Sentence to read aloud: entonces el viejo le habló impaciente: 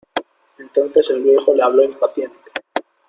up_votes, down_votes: 2, 0